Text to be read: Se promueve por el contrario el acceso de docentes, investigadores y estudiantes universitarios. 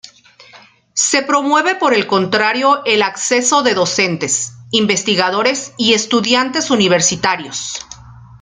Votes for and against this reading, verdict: 2, 0, accepted